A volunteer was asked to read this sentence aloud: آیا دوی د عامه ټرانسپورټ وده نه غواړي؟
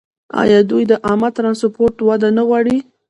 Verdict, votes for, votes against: rejected, 0, 2